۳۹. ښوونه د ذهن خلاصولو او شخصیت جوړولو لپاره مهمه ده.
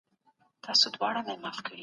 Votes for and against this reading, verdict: 0, 2, rejected